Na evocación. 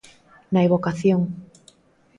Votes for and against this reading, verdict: 2, 0, accepted